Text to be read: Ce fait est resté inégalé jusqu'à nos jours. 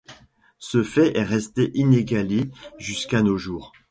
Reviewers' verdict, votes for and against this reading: accepted, 2, 0